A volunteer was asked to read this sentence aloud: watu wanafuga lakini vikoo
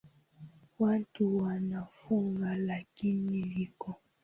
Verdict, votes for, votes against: rejected, 1, 2